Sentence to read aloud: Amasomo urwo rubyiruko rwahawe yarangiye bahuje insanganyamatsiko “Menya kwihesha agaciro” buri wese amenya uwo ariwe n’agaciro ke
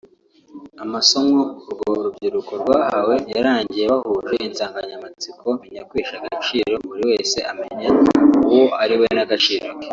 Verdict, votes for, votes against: accepted, 2, 1